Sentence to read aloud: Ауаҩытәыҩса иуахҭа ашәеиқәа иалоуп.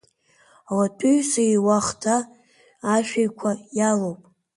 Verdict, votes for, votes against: rejected, 0, 2